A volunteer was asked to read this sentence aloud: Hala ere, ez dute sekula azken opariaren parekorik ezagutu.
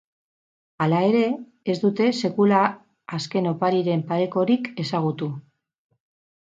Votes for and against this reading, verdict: 0, 2, rejected